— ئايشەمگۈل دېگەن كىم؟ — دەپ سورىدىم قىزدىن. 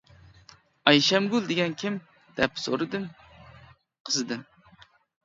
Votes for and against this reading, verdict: 1, 2, rejected